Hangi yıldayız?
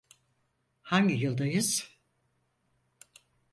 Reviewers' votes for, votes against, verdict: 4, 0, accepted